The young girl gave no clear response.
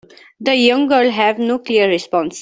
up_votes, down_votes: 1, 2